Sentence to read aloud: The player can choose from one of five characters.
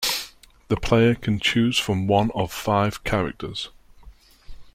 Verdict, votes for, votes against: accepted, 2, 0